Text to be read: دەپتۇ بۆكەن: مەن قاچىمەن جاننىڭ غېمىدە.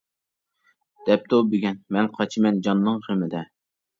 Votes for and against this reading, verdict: 0, 2, rejected